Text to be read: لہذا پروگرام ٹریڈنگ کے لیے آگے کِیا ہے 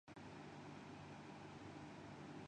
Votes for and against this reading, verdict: 1, 9, rejected